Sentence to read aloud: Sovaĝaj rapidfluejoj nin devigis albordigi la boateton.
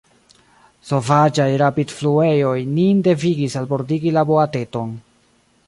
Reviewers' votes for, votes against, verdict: 0, 2, rejected